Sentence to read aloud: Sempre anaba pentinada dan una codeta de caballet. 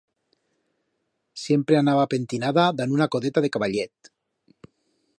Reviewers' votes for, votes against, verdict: 1, 2, rejected